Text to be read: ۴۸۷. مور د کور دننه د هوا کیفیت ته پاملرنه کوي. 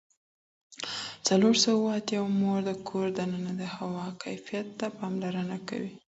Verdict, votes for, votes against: rejected, 0, 2